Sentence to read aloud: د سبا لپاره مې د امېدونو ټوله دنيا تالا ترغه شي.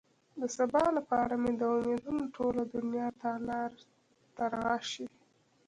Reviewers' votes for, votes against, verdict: 1, 2, rejected